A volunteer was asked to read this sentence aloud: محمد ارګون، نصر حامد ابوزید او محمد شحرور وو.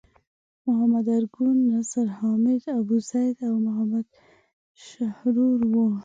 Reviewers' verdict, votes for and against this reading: accepted, 6, 0